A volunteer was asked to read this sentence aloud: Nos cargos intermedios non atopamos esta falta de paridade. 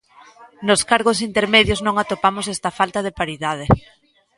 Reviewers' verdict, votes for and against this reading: rejected, 1, 2